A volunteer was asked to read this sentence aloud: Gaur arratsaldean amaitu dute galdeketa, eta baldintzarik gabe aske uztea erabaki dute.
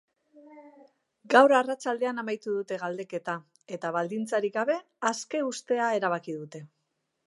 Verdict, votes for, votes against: accepted, 2, 0